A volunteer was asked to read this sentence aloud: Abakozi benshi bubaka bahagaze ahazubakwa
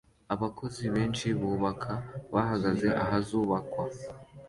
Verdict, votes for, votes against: accepted, 2, 0